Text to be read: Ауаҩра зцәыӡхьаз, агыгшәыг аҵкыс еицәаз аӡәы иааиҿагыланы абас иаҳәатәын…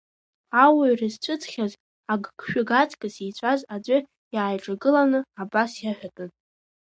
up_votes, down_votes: 2, 1